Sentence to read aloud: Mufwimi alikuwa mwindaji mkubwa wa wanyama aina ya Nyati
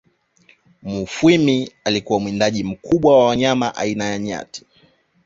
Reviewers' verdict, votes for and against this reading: accepted, 2, 0